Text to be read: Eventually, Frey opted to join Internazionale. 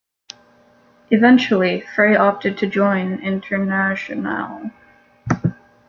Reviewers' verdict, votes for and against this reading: rejected, 0, 2